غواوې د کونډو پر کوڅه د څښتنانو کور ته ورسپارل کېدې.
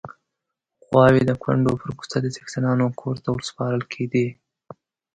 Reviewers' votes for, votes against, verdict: 2, 0, accepted